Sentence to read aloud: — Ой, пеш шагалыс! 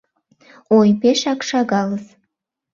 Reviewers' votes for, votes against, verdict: 0, 2, rejected